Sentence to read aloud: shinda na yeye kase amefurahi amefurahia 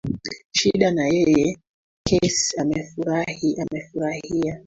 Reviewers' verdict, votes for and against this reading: rejected, 1, 2